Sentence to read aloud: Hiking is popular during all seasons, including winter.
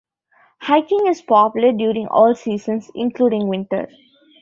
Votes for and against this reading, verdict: 2, 0, accepted